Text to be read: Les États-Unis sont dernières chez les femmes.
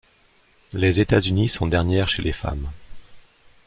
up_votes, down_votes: 2, 0